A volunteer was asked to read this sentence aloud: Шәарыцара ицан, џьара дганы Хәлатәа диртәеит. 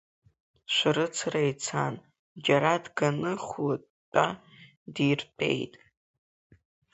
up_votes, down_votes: 2, 0